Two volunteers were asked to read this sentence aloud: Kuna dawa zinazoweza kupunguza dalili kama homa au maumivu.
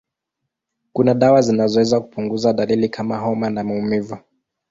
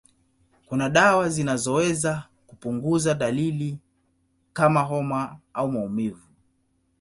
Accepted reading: second